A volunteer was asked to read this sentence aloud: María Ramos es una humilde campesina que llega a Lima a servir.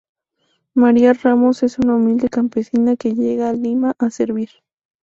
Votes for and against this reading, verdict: 2, 0, accepted